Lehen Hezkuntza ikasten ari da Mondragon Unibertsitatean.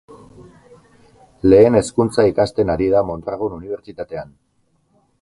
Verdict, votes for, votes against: accepted, 4, 0